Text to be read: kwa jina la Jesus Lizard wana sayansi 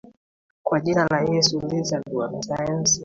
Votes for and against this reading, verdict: 1, 2, rejected